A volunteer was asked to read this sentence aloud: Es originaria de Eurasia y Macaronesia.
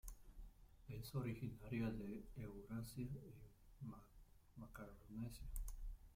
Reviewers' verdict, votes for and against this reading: rejected, 0, 2